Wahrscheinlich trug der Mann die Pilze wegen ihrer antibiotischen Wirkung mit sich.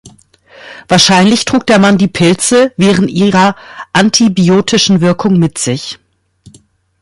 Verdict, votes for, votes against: rejected, 0, 2